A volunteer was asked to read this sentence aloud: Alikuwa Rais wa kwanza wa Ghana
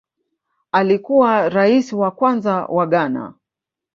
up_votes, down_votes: 2, 1